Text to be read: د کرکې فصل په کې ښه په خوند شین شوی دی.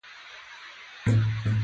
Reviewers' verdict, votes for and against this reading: rejected, 1, 2